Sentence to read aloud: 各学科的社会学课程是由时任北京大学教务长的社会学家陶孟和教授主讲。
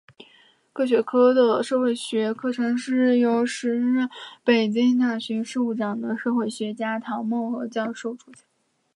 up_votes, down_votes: 2, 0